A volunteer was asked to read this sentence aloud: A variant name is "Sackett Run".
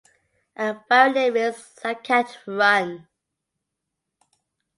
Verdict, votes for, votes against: rejected, 0, 2